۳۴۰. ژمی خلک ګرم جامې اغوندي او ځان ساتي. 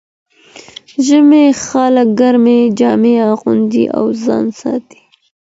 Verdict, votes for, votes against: rejected, 0, 2